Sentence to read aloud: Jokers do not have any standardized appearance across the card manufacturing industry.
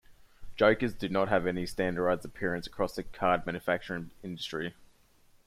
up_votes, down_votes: 0, 2